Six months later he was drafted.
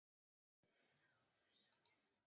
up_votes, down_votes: 1, 2